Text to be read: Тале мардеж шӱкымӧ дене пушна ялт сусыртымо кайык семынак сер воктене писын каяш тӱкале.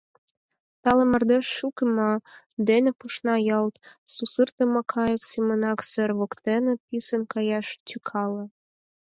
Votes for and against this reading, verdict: 0, 4, rejected